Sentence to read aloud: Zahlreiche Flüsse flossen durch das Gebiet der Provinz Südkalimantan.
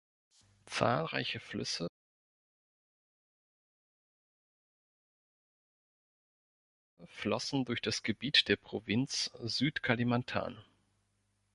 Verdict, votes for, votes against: rejected, 1, 2